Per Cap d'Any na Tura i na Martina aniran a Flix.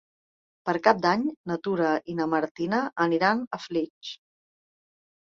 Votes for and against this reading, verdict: 1, 2, rejected